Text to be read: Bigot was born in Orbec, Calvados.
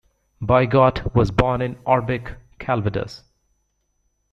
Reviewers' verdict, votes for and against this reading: rejected, 1, 2